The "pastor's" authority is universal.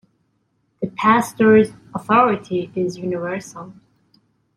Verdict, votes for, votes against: accepted, 2, 0